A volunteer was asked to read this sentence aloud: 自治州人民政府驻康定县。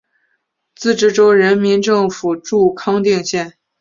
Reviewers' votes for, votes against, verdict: 4, 0, accepted